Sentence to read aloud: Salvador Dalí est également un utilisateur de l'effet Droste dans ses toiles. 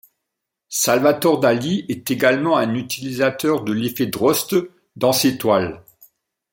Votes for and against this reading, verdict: 1, 2, rejected